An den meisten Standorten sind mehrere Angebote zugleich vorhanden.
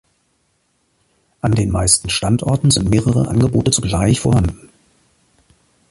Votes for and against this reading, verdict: 2, 0, accepted